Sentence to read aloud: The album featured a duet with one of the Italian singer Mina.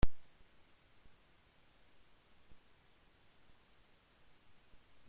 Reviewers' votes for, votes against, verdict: 0, 2, rejected